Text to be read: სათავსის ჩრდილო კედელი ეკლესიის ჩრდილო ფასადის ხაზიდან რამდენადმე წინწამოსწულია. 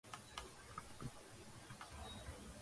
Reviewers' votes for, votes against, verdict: 0, 2, rejected